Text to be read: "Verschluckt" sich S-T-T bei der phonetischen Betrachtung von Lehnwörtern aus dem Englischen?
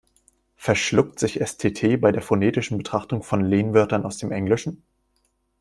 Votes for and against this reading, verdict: 2, 0, accepted